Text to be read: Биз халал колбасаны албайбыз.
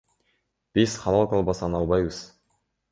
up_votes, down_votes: 1, 2